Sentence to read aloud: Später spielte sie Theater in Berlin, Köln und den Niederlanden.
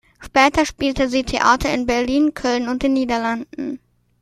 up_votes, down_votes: 2, 0